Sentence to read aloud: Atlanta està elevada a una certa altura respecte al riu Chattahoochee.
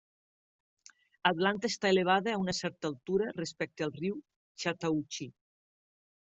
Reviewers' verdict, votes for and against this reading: accepted, 2, 1